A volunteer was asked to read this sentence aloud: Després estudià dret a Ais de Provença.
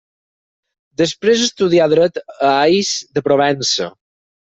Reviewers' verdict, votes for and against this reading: accepted, 6, 0